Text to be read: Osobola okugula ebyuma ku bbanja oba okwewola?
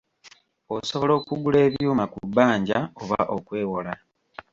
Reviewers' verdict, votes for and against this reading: rejected, 1, 2